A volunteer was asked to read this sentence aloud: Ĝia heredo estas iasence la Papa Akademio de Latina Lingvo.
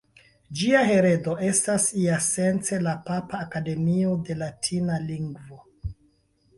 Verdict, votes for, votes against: accepted, 3, 0